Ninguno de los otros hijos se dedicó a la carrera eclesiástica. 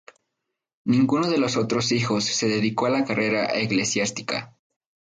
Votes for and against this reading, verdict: 2, 0, accepted